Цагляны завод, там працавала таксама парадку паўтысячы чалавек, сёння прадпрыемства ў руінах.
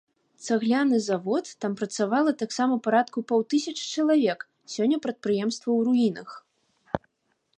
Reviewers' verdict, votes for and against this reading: accepted, 2, 0